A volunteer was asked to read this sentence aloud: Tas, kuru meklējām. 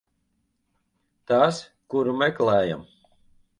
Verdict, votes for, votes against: rejected, 0, 2